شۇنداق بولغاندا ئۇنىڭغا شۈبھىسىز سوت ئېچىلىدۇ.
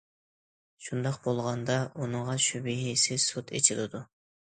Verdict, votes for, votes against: accepted, 2, 0